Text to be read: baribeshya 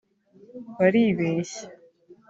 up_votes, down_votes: 2, 0